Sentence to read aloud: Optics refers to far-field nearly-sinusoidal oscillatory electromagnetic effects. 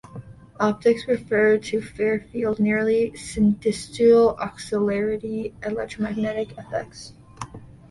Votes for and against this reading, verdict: 1, 2, rejected